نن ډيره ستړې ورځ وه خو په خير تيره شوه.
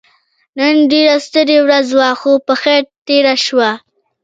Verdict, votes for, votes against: rejected, 1, 2